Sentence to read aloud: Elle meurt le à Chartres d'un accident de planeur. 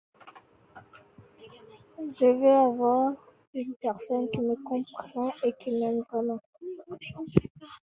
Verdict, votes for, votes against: rejected, 0, 2